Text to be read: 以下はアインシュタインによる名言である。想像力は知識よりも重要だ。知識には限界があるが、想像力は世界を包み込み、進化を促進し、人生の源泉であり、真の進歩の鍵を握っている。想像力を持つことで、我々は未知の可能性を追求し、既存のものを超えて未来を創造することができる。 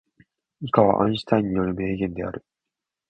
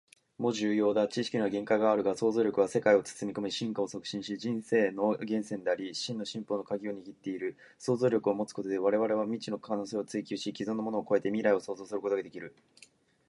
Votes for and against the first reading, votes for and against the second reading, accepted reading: 1, 2, 2, 1, second